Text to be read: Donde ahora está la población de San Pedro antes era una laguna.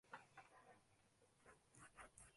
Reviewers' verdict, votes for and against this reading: rejected, 0, 2